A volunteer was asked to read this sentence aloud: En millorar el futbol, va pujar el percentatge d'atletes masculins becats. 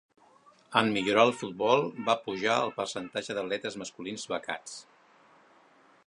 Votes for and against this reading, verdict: 2, 0, accepted